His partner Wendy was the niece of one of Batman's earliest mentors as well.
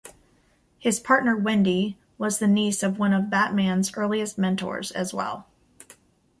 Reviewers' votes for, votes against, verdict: 2, 0, accepted